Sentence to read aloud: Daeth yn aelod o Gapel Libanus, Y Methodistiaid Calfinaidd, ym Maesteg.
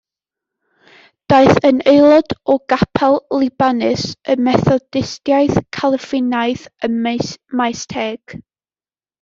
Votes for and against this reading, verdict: 0, 2, rejected